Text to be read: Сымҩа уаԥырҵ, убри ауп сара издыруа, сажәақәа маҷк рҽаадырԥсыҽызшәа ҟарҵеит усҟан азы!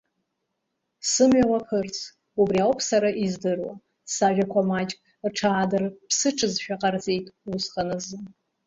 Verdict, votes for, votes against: rejected, 1, 2